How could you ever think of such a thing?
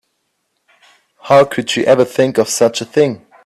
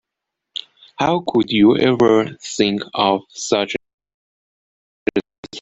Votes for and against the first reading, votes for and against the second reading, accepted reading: 3, 0, 0, 2, first